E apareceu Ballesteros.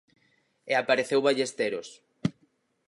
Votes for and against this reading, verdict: 4, 0, accepted